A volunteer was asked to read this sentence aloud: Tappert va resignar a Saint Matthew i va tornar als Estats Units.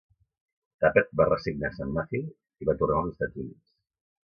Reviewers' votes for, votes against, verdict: 3, 0, accepted